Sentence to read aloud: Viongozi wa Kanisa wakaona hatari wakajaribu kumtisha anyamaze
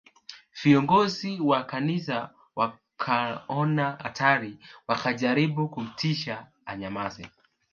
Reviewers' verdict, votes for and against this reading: accepted, 2, 0